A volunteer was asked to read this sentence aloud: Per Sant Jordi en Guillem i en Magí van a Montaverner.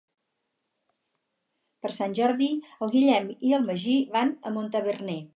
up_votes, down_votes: 0, 4